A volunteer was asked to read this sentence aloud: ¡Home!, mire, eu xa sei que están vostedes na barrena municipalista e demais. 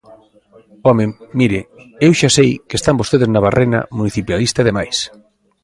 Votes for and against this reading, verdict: 2, 1, accepted